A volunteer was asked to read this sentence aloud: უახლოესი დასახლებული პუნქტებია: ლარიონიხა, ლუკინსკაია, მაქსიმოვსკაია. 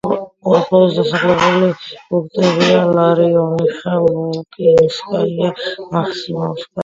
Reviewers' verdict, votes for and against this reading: accepted, 2, 0